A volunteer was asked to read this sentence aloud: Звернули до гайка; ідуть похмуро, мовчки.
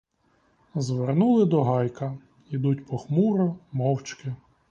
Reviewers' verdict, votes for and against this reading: accepted, 2, 0